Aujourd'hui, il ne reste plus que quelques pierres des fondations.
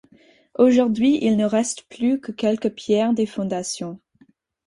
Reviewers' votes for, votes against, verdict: 4, 0, accepted